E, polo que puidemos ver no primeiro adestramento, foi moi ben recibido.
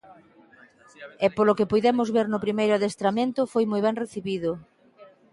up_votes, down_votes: 2, 0